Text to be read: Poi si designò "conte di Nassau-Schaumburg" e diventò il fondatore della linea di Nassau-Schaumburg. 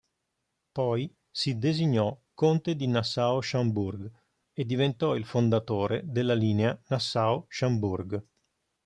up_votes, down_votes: 1, 2